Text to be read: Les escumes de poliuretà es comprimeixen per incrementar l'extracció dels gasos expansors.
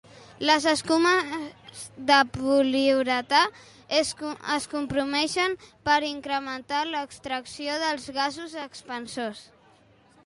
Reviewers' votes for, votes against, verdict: 0, 2, rejected